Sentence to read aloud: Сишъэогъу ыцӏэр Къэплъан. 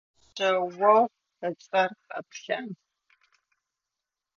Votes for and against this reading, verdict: 0, 2, rejected